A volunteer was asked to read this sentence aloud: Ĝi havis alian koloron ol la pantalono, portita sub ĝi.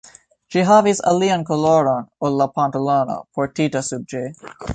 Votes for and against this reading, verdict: 2, 1, accepted